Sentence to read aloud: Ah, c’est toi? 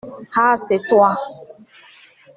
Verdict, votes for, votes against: accepted, 2, 0